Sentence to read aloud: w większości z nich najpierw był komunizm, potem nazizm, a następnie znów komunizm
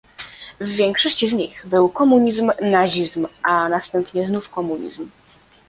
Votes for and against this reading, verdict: 1, 2, rejected